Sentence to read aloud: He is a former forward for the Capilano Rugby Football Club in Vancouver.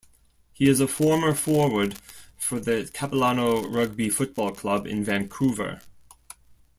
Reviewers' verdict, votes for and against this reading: accepted, 2, 0